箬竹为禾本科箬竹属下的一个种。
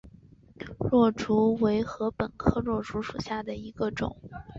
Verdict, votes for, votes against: accepted, 3, 1